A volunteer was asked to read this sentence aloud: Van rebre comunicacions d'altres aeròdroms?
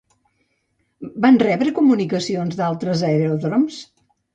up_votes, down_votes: 2, 0